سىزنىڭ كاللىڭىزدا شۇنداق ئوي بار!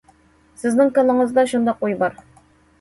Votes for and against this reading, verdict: 2, 0, accepted